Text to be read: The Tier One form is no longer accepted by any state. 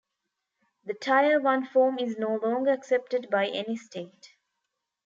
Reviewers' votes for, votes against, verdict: 1, 2, rejected